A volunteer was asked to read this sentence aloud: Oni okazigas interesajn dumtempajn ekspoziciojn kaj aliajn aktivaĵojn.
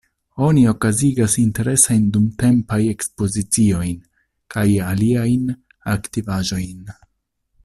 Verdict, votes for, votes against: accepted, 2, 1